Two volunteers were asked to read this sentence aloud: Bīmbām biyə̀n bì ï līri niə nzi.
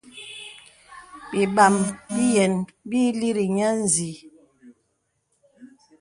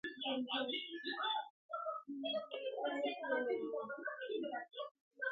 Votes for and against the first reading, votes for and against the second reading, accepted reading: 3, 0, 0, 2, first